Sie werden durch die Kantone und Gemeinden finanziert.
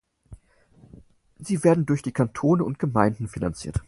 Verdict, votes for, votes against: accepted, 4, 0